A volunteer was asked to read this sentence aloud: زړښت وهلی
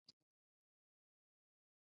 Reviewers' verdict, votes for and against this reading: rejected, 0, 2